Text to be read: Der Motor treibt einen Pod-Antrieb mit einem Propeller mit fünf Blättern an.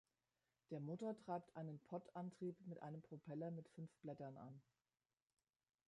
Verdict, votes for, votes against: rejected, 1, 2